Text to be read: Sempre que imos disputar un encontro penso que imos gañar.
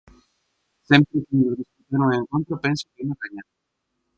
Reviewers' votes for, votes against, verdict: 0, 4, rejected